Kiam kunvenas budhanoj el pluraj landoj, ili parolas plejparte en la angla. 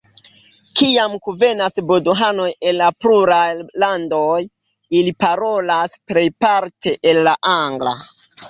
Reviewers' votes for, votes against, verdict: 0, 2, rejected